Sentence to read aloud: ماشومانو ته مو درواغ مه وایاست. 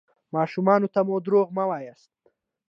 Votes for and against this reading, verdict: 1, 2, rejected